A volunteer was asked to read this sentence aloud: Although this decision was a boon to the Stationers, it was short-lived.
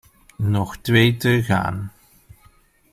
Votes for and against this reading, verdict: 0, 2, rejected